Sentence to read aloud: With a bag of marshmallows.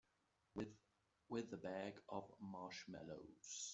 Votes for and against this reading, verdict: 1, 2, rejected